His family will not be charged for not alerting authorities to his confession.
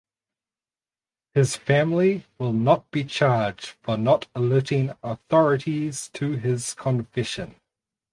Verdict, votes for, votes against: accepted, 4, 0